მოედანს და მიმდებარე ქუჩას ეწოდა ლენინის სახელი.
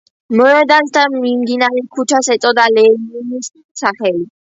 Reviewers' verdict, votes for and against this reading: accepted, 2, 1